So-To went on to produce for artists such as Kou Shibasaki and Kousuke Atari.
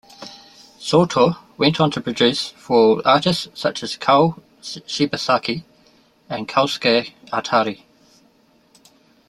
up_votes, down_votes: 1, 2